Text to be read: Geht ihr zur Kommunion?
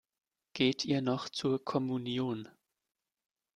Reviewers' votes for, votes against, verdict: 0, 3, rejected